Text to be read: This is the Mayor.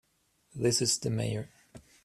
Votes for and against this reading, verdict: 2, 0, accepted